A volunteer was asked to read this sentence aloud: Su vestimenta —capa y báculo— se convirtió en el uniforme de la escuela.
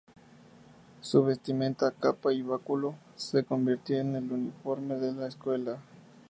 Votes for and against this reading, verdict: 2, 0, accepted